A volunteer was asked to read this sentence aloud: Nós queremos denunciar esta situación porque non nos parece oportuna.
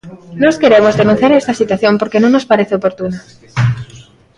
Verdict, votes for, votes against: rejected, 0, 2